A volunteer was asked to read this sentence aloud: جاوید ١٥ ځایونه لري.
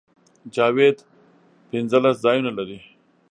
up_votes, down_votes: 0, 2